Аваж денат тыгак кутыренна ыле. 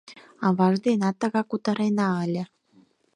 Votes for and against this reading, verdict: 4, 0, accepted